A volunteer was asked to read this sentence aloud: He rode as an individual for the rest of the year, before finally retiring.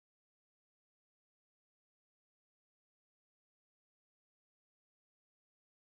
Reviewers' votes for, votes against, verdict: 0, 2, rejected